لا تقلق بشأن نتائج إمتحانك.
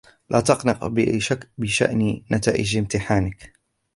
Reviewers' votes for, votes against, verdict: 2, 0, accepted